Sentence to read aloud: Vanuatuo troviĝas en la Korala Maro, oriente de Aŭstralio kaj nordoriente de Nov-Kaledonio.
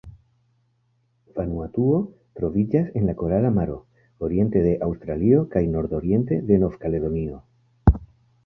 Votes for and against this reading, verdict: 0, 2, rejected